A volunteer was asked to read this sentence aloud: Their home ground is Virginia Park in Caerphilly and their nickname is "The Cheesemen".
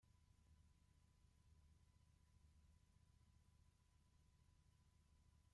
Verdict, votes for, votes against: rejected, 0, 2